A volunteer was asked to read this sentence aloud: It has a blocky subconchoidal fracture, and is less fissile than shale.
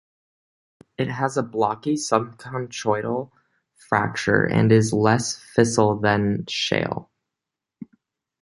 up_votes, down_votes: 2, 0